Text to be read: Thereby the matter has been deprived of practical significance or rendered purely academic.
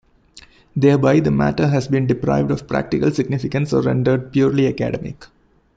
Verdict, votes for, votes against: accepted, 2, 0